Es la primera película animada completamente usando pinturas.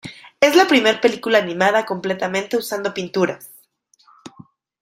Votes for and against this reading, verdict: 0, 2, rejected